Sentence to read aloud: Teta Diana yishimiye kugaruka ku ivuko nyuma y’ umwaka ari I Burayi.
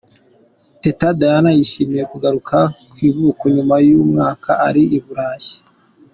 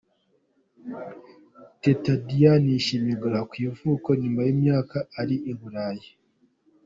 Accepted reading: first